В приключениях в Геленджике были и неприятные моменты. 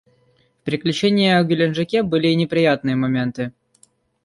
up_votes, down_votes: 1, 2